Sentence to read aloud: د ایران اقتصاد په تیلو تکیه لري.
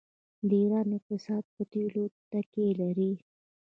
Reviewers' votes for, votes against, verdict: 2, 0, accepted